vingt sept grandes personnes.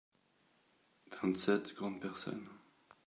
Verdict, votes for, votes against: rejected, 1, 2